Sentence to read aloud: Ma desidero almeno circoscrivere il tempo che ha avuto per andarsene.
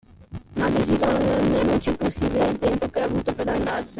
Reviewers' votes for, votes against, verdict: 0, 2, rejected